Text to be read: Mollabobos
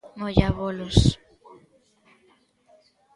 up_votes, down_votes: 0, 2